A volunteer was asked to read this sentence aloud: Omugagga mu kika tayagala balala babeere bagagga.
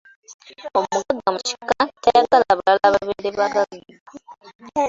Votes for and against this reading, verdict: 1, 2, rejected